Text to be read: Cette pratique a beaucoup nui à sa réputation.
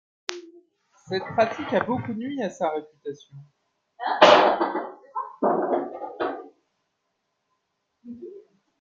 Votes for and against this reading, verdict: 0, 2, rejected